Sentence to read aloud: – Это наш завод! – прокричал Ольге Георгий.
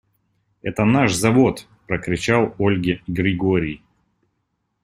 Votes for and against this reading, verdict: 0, 2, rejected